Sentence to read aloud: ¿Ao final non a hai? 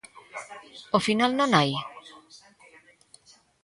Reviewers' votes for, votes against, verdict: 1, 2, rejected